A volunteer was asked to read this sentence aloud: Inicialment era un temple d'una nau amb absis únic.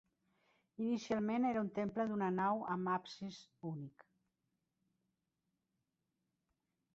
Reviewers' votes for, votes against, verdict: 3, 0, accepted